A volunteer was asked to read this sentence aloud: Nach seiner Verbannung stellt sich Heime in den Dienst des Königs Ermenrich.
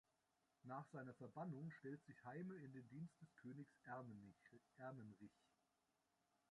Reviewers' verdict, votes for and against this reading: rejected, 0, 2